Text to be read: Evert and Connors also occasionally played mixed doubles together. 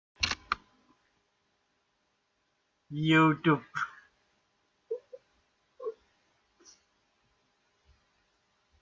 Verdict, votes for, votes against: rejected, 0, 2